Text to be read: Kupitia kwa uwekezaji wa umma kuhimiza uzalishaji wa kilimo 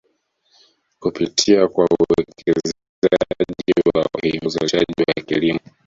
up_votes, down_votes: 0, 2